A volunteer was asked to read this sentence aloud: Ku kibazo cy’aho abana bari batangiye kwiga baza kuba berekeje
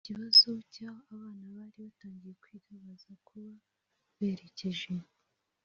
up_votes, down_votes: 2, 3